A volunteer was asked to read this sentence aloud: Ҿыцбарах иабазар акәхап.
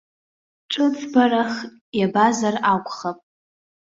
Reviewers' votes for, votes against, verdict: 2, 0, accepted